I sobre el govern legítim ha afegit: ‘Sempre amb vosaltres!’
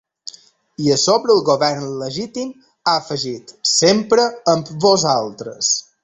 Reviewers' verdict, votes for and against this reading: accepted, 3, 2